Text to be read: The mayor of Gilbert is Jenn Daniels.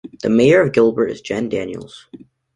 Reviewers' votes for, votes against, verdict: 2, 0, accepted